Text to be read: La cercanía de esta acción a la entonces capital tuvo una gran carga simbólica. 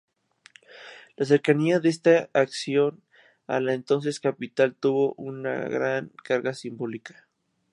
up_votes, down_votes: 4, 0